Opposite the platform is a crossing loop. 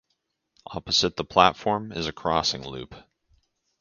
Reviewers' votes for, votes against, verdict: 2, 2, rejected